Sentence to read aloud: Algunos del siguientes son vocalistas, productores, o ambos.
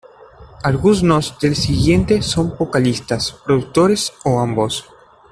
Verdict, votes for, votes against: rejected, 0, 2